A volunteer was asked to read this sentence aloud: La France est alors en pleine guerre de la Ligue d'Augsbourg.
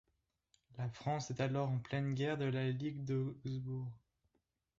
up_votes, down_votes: 1, 2